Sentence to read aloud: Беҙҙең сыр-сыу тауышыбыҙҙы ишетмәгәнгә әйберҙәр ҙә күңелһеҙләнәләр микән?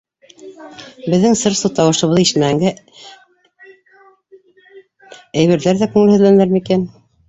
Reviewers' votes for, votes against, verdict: 0, 2, rejected